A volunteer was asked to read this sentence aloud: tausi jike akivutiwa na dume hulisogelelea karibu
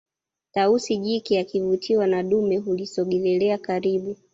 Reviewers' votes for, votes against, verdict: 2, 0, accepted